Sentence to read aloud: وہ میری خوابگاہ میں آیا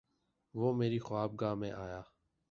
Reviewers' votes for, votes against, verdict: 2, 0, accepted